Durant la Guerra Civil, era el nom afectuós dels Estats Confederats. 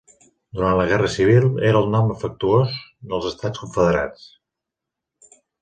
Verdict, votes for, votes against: accepted, 2, 0